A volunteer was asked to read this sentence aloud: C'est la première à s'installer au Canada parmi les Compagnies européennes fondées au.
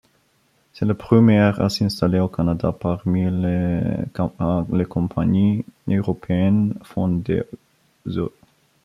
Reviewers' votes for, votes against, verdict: 1, 2, rejected